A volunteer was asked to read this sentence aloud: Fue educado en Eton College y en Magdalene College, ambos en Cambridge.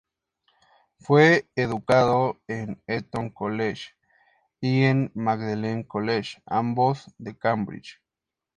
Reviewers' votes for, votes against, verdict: 0, 2, rejected